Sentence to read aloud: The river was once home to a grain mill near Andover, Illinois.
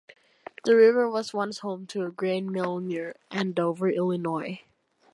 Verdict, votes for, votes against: accepted, 2, 0